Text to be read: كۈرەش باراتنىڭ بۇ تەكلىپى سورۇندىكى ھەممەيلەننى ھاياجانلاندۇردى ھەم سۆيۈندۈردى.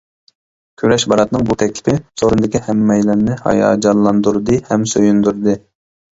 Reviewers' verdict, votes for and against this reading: accepted, 2, 0